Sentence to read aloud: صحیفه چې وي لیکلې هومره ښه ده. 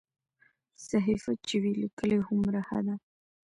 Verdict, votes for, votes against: accepted, 2, 1